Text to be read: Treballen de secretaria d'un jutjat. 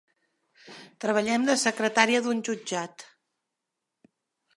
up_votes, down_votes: 1, 2